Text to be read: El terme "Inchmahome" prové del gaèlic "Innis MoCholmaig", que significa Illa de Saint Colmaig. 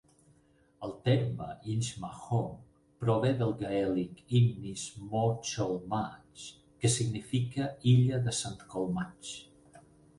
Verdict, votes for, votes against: accepted, 6, 0